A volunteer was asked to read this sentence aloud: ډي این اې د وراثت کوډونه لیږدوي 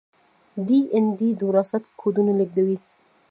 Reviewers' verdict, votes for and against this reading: rejected, 1, 2